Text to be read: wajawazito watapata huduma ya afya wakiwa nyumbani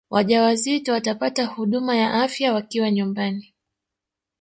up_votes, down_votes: 2, 3